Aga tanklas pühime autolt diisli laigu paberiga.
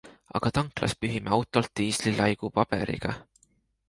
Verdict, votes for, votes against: accepted, 2, 0